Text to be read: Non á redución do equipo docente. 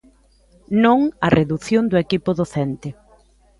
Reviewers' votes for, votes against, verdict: 1, 2, rejected